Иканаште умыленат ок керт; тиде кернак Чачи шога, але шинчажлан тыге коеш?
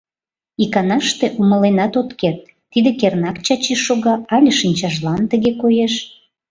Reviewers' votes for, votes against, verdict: 1, 2, rejected